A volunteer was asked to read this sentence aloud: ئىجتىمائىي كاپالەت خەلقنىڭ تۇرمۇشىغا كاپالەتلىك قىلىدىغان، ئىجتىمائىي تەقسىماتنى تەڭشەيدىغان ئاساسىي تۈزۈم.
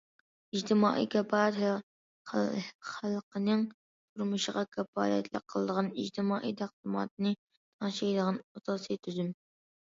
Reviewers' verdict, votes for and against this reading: accepted, 2, 0